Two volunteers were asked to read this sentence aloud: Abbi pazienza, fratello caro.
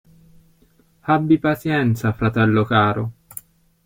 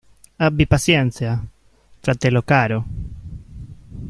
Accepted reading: first